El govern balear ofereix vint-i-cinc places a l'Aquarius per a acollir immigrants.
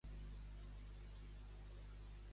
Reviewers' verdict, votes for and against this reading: rejected, 0, 2